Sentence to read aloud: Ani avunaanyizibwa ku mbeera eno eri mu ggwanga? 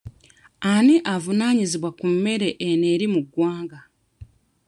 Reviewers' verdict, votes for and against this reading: rejected, 0, 2